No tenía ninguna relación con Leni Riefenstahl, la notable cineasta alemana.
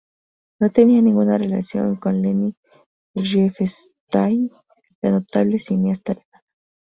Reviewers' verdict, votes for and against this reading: rejected, 0, 2